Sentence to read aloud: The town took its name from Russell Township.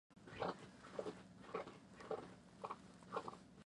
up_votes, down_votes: 0, 2